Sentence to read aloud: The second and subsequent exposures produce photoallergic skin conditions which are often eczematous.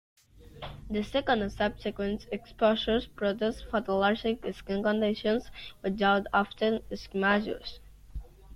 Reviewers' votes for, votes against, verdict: 2, 0, accepted